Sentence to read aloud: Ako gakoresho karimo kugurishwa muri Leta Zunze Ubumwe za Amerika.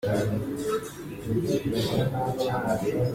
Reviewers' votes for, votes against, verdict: 0, 2, rejected